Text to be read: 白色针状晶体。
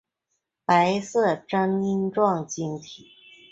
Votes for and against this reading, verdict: 2, 0, accepted